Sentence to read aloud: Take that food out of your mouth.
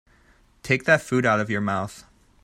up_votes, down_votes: 2, 0